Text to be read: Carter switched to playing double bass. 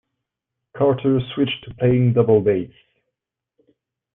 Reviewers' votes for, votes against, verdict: 2, 0, accepted